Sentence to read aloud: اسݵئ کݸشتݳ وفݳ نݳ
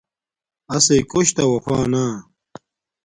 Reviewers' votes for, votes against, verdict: 2, 0, accepted